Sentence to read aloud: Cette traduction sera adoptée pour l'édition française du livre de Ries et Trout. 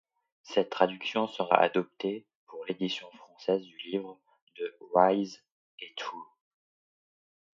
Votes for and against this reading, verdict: 0, 2, rejected